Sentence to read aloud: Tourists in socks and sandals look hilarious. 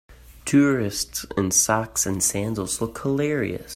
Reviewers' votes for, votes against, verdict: 2, 0, accepted